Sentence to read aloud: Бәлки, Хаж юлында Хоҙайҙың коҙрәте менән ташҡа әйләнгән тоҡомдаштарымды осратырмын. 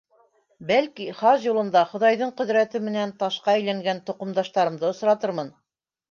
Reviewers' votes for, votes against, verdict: 0, 2, rejected